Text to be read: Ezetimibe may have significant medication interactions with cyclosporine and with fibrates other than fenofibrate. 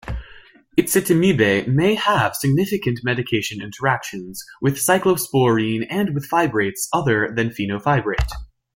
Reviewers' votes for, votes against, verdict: 2, 1, accepted